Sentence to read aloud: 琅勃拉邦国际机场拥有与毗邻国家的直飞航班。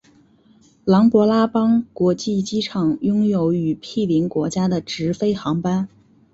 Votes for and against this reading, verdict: 2, 1, accepted